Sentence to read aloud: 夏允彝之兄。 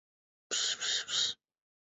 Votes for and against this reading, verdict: 0, 5, rejected